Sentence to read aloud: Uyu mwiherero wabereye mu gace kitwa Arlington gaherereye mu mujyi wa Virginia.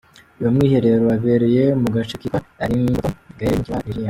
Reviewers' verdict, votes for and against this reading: accepted, 2, 1